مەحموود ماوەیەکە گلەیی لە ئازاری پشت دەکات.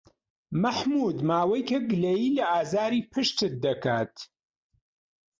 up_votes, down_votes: 0, 2